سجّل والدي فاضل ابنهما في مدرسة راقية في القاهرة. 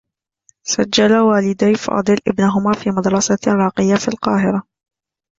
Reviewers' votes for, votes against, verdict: 2, 0, accepted